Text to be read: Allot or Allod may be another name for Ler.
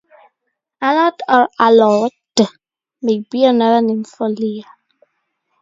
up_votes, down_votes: 2, 2